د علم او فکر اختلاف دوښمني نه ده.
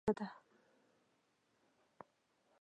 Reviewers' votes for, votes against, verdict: 1, 2, rejected